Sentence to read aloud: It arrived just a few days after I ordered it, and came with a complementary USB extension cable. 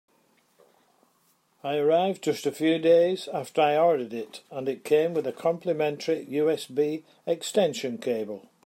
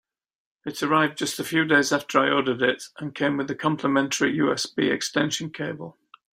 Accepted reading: second